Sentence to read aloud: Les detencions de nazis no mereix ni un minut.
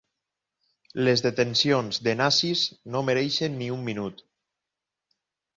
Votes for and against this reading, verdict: 0, 6, rejected